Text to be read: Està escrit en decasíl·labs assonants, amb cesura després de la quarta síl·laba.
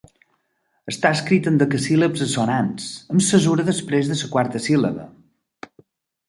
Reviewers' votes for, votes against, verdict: 0, 2, rejected